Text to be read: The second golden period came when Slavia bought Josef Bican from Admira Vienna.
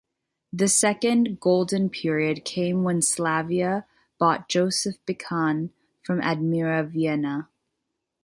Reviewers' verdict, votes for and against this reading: accepted, 2, 0